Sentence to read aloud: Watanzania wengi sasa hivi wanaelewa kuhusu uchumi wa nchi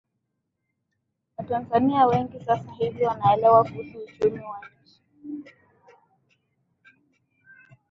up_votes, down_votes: 2, 0